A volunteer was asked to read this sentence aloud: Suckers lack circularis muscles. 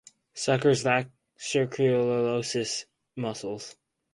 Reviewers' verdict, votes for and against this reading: rejected, 2, 4